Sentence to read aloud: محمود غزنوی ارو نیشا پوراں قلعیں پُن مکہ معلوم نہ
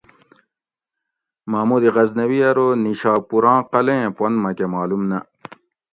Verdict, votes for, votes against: accepted, 2, 0